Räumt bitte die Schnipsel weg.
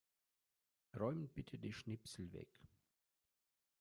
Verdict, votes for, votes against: rejected, 1, 2